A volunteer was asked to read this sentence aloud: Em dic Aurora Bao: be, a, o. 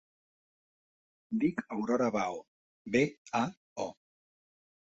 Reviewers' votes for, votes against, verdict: 2, 1, accepted